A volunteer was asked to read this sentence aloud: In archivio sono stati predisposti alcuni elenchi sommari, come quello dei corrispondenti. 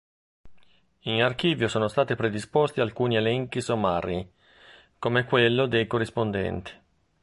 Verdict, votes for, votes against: accepted, 2, 0